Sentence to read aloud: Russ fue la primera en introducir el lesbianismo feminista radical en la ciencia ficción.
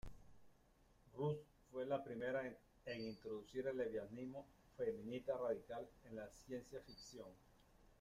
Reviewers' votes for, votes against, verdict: 0, 2, rejected